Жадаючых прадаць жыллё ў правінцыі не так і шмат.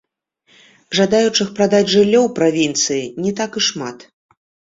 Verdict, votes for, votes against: rejected, 0, 2